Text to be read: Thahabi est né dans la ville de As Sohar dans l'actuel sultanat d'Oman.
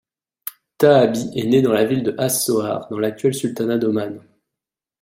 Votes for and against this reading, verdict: 2, 0, accepted